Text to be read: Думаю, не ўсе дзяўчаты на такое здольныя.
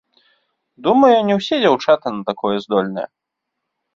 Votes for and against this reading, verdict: 2, 1, accepted